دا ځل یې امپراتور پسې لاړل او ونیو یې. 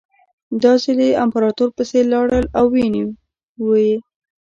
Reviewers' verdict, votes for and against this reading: rejected, 1, 2